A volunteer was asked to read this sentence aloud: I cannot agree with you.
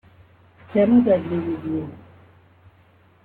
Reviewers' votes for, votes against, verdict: 2, 3, rejected